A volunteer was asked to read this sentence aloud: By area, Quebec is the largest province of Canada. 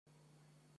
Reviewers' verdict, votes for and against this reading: rejected, 0, 2